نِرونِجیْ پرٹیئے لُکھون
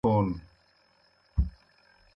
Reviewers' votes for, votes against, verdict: 0, 2, rejected